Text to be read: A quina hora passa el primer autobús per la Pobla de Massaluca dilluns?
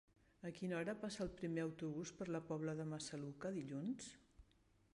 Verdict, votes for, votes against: rejected, 0, 2